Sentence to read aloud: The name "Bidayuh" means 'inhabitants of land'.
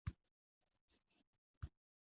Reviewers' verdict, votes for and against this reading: rejected, 0, 2